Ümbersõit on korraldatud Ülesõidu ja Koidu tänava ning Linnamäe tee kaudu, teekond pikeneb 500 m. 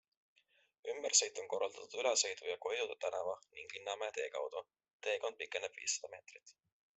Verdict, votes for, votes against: rejected, 0, 2